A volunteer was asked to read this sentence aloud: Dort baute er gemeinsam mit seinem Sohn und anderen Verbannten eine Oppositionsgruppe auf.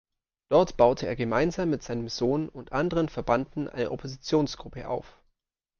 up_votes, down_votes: 0, 2